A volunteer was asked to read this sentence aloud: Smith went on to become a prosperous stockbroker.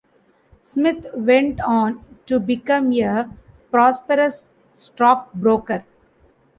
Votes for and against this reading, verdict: 2, 0, accepted